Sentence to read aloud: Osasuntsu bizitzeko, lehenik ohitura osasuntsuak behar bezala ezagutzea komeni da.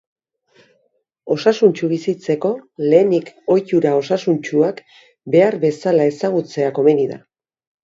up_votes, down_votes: 3, 0